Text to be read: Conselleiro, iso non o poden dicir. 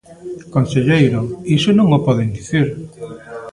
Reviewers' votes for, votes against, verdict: 1, 2, rejected